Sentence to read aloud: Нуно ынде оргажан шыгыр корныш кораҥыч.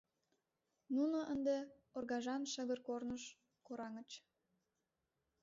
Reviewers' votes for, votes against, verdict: 2, 1, accepted